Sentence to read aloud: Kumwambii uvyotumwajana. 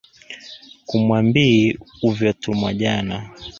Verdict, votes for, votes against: accepted, 2, 0